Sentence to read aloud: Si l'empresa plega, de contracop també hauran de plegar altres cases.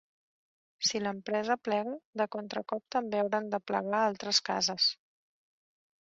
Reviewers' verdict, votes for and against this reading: rejected, 1, 2